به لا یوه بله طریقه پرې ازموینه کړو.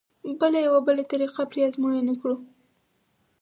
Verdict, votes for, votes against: accepted, 4, 2